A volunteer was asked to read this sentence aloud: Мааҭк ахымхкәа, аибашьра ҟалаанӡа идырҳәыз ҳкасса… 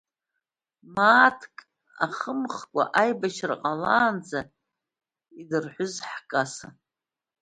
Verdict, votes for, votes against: accepted, 2, 0